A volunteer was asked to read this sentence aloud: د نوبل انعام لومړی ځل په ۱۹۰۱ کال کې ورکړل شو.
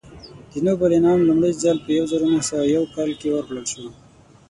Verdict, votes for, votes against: rejected, 0, 2